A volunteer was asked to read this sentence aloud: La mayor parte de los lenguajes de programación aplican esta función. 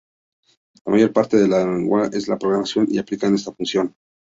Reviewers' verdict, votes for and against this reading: rejected, 0, 2